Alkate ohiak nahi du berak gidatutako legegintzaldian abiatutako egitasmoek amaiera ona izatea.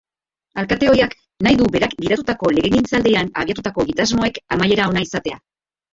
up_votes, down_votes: 2, 2